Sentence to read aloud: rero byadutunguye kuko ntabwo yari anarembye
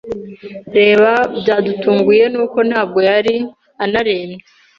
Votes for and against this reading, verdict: 0, 2, rejected